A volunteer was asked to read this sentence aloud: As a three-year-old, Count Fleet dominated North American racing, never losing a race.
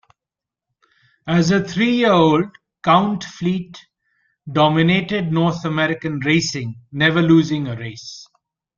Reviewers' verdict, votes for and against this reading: accepted, 2, 0